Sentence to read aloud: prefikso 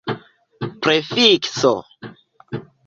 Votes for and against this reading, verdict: 2, 0, accepted